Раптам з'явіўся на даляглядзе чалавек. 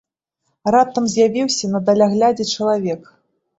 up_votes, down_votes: 2, 0